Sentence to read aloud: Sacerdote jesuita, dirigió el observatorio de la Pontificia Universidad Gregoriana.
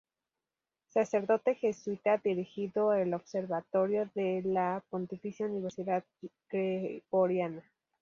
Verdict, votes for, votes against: accepted, 4, 2